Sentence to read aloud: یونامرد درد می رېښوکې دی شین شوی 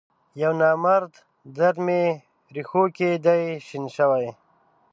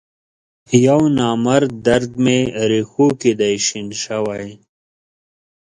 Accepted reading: second